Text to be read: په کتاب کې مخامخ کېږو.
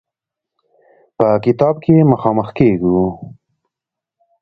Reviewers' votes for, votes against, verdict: 2, 0, accepted